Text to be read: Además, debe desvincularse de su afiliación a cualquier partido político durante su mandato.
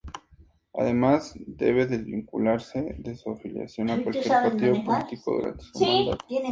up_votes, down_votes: 2, 0